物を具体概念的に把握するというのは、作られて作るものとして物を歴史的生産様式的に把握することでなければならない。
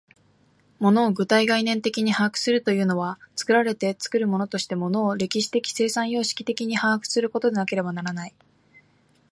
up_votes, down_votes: 2, 0